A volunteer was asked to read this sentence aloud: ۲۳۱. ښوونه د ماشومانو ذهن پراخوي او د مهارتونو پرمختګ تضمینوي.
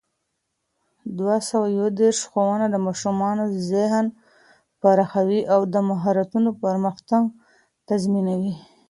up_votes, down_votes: 0, 2